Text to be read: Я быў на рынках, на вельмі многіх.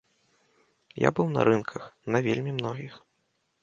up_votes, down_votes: 2, 0